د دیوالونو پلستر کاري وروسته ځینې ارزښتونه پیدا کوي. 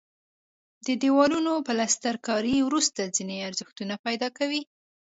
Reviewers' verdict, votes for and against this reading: accepted, 2, 0